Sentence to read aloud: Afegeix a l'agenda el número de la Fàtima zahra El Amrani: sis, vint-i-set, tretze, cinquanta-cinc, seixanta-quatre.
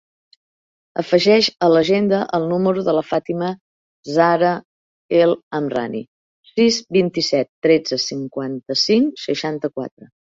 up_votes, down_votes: 4, 1